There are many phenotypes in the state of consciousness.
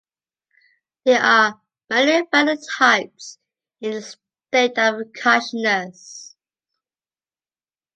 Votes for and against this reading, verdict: 2, 0, accepted